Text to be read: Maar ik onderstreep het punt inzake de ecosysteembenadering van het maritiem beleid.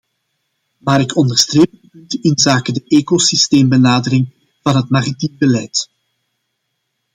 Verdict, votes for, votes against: rejected, 0, 2